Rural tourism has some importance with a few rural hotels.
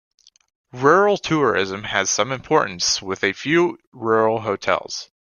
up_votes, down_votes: 2, 0